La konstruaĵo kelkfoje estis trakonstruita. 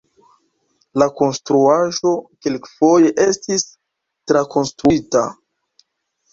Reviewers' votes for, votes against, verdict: 2, 0, accepted